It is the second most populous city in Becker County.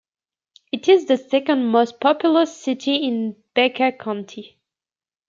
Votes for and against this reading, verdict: 2, 0, accepted